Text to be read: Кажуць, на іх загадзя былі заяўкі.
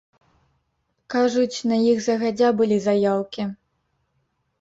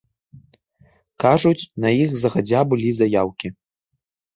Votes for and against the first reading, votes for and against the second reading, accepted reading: 2, 0, 0, 2, first